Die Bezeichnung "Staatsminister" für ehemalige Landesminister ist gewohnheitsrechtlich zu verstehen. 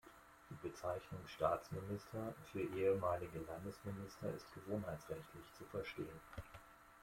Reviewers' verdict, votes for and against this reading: rejected, 1, 2